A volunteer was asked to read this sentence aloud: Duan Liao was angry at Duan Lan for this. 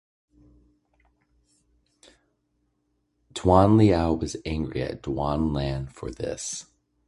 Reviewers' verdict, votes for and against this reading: accepted, 2, 0